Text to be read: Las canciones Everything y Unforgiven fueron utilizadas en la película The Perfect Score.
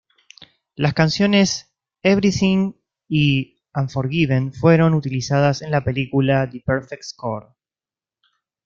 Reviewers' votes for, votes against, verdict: 2, 0, accepted